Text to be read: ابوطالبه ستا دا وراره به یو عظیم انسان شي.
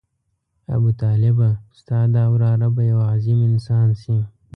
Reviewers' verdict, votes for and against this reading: accepted, 2, 0